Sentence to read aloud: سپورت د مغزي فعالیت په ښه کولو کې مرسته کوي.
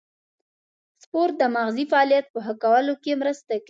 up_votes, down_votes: 1, 2